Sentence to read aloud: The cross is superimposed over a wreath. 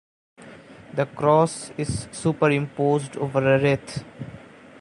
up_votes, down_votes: 0, 2